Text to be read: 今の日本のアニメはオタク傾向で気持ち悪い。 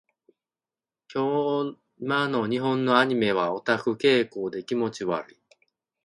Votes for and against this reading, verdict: 2, 1, accepted